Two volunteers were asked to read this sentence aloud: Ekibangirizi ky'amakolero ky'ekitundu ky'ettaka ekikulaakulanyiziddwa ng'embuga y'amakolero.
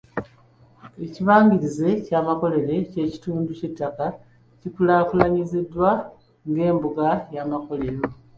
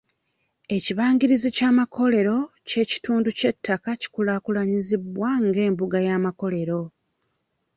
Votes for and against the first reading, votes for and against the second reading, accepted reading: 2, 1, 1, 2, first